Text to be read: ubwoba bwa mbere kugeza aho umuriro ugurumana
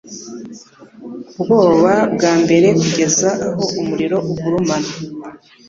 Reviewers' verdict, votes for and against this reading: accepted, 2, 0